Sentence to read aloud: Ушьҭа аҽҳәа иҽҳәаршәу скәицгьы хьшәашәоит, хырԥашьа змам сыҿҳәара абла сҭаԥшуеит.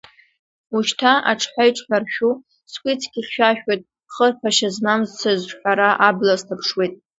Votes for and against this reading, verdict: 2, 1, accepted